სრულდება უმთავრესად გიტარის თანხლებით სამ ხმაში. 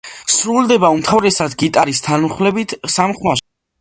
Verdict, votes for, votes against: rejected, 0, 2